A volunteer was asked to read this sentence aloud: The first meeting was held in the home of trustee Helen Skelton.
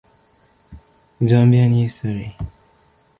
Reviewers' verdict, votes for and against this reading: rejected, 0, 2